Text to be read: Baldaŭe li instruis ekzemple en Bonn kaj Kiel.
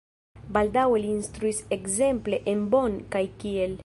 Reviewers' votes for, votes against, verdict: 1, 2, rejected